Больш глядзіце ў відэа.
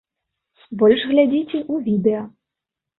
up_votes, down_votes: 2, 0